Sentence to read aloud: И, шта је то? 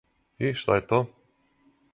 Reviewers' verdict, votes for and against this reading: accepted, 4, 0